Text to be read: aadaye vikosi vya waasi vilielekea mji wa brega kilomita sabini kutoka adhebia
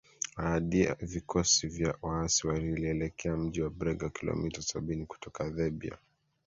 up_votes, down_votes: 2, 3